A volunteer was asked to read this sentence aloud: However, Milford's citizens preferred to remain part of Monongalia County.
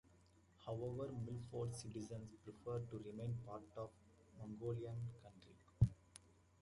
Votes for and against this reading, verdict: 0, 2, rejected